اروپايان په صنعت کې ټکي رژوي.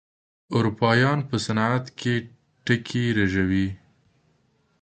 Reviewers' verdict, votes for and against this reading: accepted, 2, 0